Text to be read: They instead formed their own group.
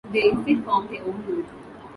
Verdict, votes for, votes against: accepted, 2, 0